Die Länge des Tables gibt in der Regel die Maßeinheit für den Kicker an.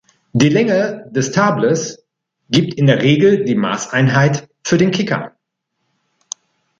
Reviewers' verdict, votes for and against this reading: rejected, 1, 2